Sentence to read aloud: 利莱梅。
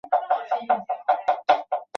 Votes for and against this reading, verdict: 0, 2, rejected